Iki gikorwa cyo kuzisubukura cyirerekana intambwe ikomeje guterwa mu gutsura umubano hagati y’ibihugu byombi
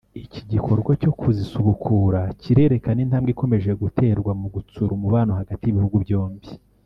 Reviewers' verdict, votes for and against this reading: rejected, 1, 2